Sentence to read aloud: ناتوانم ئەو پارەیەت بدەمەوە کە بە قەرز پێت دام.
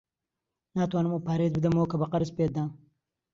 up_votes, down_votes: 2, 0